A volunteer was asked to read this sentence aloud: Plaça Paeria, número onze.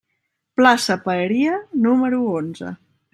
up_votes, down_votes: 3, 0